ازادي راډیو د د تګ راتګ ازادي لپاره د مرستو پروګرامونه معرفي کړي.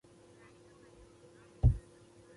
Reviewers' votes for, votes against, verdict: 1, 2, rejected